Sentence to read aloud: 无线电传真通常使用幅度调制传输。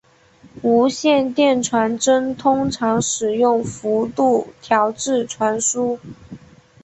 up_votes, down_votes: 2, 1